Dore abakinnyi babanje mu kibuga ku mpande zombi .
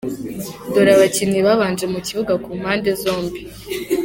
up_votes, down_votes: 2, 0